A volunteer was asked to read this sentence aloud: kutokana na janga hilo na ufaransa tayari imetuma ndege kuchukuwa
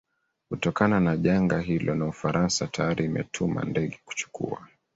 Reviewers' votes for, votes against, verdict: 0, 2, rejected